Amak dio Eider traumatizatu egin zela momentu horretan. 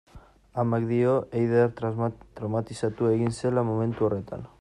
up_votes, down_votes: 1, 2